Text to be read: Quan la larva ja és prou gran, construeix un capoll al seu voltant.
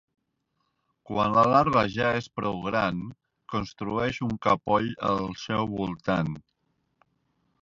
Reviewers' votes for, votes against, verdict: 1, 2, rejected